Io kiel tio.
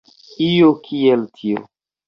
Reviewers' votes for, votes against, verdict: 1, 2, rejected